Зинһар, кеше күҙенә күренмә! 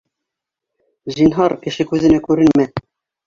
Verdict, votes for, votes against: rejected, 0, 2